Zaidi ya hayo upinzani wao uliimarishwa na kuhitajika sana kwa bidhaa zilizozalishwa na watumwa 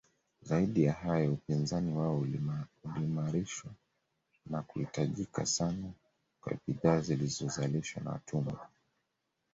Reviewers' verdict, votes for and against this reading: rejected, 1, 2